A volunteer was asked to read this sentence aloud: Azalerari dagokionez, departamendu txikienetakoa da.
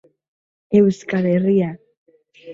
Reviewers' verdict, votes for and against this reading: rejected, 0, 3